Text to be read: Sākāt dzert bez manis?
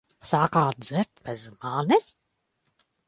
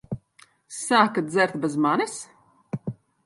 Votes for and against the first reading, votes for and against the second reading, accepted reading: 2, 1, 0, 2, first